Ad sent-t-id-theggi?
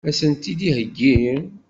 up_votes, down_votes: 1, 2